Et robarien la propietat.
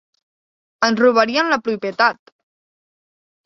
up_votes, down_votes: 0, 2